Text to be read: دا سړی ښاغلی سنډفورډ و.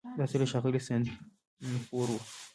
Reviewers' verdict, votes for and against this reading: rejected, 1, 2